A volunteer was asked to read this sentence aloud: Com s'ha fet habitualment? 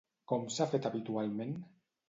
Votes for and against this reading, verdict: 2, 0, accepted